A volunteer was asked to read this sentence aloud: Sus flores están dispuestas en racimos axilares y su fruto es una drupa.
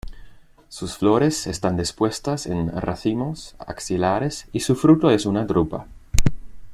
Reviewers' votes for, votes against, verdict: 2, 0, accepted